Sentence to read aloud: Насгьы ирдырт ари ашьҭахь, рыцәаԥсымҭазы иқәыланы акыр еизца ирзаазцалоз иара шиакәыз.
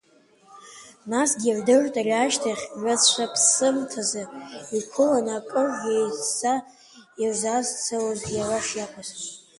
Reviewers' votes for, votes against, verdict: 2, 1, accepted